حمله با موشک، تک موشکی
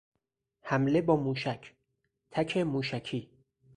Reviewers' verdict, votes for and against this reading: accepted, 4, 2